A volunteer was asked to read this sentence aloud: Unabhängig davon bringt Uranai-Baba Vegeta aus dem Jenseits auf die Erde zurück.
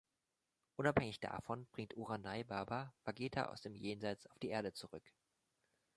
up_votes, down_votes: 1, 2